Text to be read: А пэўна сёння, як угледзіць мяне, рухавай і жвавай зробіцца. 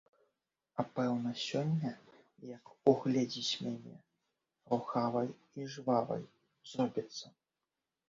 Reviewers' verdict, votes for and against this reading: rejected, 1, 2